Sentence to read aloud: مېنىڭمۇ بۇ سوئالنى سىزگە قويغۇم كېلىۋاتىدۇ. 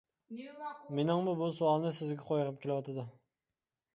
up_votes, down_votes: 1, 2